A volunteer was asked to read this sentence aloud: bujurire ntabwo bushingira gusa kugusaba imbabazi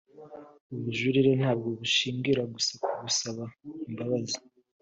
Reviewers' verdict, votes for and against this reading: accepted, 2, 0